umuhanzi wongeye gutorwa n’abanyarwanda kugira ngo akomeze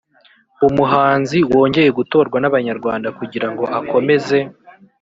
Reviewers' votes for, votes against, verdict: 2, 0, accepted